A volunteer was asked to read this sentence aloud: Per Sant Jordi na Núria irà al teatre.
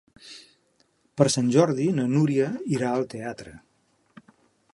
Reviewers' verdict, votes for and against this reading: accepted, 2, 0